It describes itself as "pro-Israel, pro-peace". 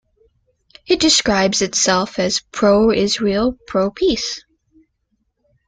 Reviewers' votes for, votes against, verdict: 2, 0, accepted